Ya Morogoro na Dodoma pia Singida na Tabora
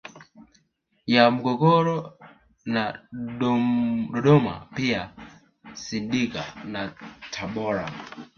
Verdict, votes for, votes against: rejected, 0, 2